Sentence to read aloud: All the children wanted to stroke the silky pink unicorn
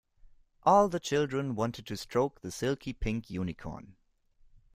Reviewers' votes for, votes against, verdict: 2, 0, accepted